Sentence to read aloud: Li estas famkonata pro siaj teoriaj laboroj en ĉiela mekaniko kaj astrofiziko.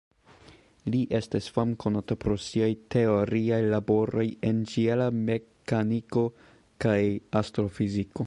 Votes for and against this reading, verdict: 1, 2, rejected